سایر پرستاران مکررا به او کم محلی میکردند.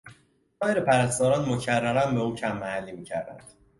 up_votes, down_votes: 1, 2